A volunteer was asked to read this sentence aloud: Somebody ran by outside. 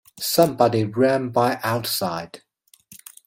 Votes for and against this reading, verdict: 2, 0, accepted